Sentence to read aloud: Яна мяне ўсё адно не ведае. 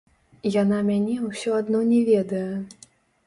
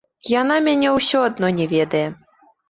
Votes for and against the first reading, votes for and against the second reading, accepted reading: 1, 2, 3, 0, second